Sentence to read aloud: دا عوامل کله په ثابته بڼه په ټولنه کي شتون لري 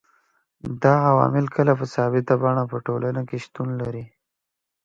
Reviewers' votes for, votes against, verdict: 2, 0, accepted